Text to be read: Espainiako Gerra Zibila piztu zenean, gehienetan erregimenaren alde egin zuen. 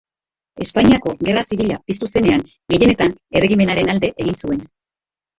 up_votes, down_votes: 3, 1